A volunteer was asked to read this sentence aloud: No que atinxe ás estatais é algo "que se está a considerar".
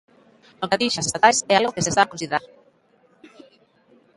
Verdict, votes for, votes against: rejected, 0, 2